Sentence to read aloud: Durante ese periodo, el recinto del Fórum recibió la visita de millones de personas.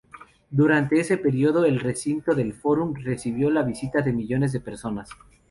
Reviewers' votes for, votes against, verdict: 2, 0, accepted